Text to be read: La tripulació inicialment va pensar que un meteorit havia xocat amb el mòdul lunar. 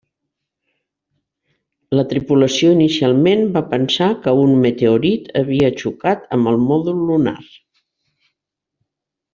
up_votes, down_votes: 3, 0